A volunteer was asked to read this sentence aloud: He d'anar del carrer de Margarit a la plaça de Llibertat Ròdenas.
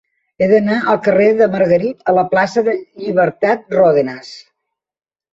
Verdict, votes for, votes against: rejected, 1, 2